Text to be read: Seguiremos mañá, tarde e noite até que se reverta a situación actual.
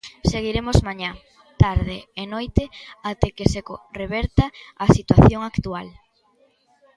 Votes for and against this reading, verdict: 0, 2, rejected